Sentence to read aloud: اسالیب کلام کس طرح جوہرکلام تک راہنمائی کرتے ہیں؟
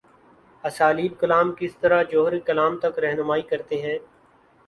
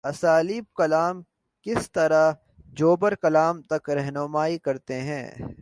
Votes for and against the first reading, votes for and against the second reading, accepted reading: 3, 1, 1, 3, first